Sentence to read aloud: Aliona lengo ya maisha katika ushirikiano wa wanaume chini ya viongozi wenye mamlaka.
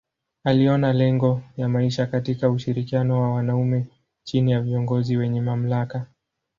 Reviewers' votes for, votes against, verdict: 2, 0, accepted